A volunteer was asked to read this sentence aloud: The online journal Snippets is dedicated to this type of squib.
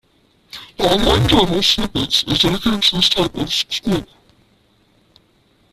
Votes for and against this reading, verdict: 0, 2, rejected